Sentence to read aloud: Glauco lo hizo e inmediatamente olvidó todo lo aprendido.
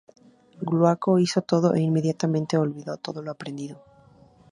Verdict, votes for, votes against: rejected, 0, 2